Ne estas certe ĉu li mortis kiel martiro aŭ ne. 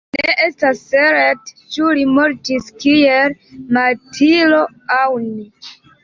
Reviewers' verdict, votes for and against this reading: accepted, 2, 0